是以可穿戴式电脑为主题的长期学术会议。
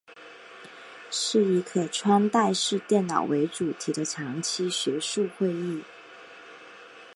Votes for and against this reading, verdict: 2, 0, accepted